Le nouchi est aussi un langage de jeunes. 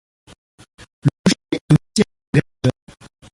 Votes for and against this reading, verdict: 0, 2, rejected